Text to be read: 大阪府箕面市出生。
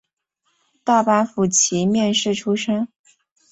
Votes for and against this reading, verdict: 0, 2, rejected